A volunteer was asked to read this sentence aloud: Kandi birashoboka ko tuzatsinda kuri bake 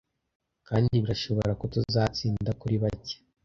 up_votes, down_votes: 1, 3